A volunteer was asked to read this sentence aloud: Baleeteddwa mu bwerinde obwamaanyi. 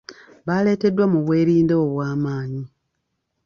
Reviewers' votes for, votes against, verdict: 2, 0, accepted